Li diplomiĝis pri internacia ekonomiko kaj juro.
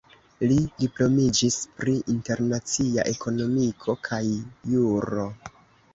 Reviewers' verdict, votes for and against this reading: rejected, 0, 2